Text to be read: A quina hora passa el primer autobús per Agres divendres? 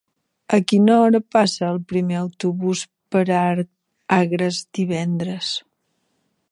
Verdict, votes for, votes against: rejected, 0, 2